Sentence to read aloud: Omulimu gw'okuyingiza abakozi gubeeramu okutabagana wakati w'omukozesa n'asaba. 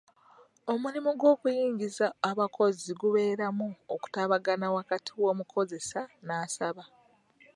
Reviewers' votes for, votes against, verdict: 1, 2, rejected